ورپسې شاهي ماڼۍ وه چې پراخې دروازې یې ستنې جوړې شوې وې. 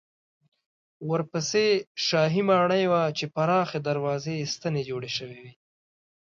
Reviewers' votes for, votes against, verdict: 2, 0, accepted